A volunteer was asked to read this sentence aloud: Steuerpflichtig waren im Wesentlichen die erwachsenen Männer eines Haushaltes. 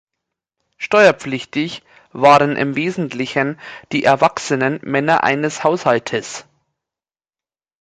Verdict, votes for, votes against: accepted, 2, 0